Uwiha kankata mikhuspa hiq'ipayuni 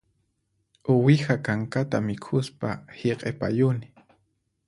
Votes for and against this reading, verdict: 4, 0, accepted